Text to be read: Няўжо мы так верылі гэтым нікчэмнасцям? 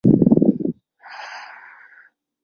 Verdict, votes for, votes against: rejected, 0, 2